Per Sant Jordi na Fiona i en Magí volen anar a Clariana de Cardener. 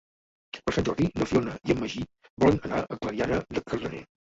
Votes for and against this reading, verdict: 1, 2, rejected